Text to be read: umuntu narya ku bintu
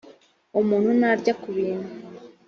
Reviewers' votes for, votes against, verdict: 2, 0, accepted